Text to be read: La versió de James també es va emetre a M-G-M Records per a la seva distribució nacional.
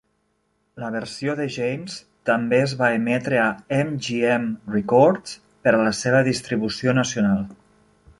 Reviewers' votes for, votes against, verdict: 0, 2, rejected